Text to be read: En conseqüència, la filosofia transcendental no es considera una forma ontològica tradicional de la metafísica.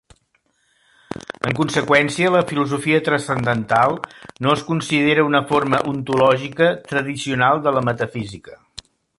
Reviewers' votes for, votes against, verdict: 2, 0, accepted